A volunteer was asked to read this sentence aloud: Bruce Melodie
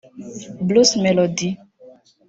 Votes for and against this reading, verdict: 2, 1, accepted